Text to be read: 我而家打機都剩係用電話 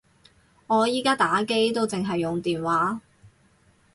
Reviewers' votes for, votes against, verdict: 0, 2, rejected